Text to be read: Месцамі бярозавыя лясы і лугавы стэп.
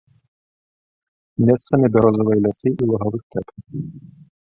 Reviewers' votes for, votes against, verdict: 1, 2, rejected